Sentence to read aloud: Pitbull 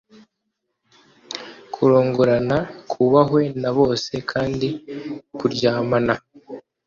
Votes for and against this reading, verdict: 0, 2, rejected